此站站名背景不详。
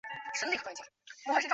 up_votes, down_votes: 2, 3